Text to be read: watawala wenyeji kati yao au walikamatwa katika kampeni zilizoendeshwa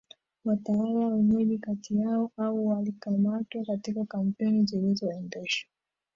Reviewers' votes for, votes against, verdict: 0, 2, rejected